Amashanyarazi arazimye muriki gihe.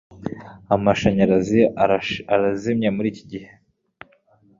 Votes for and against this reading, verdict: 3, 0, accepted